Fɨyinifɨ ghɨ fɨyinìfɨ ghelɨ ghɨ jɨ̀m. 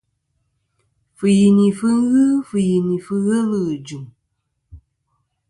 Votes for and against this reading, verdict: 2, 0, accepted